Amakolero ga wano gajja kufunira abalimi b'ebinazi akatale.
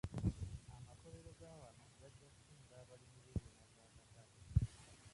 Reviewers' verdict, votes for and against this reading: rejected, 0, 2